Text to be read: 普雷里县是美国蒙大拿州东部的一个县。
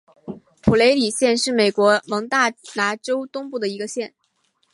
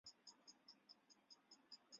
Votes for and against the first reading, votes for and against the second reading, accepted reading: 3, 0, 1, 3, first